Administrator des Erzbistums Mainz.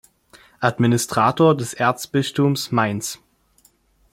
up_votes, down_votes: 1, 2